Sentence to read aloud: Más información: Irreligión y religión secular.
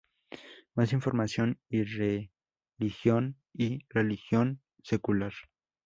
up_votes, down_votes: 0, 2